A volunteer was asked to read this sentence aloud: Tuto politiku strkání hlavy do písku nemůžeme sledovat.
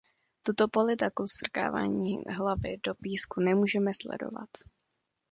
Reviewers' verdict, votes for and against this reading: rejected, 0, 2